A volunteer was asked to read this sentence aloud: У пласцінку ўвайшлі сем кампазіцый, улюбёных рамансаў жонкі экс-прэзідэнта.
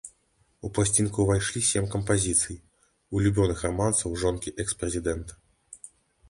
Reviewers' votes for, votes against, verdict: 2, 0, accepted